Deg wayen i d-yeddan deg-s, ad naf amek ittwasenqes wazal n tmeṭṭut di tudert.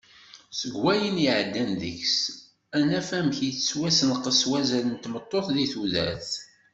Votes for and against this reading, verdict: 1, 2, rejected